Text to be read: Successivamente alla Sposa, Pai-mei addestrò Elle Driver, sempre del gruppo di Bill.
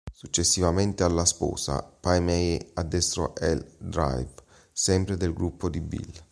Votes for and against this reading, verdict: 1, 2, rejected